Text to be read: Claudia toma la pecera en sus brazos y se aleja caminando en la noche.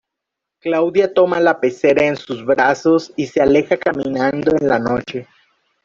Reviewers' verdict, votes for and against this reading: accepted, 2, 1